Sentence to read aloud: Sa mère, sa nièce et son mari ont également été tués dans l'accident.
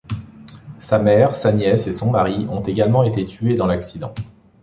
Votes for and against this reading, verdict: 2, 0, accepted